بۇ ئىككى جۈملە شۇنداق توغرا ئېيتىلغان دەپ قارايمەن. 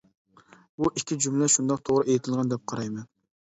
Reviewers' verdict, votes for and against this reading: accepted, 2, 0